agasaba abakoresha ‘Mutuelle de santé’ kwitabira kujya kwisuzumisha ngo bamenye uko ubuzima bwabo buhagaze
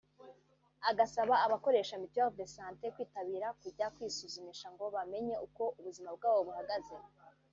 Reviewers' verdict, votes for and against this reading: rejected, 0, 2